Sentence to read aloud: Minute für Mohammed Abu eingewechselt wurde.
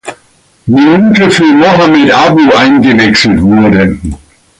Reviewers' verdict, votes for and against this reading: rejected, 1, 2